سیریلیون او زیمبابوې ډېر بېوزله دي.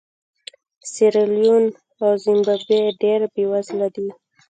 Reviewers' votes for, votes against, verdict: 1, 2, rejected